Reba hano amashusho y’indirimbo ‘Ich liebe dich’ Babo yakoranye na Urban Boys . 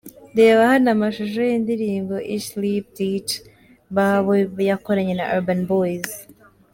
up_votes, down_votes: 0, 2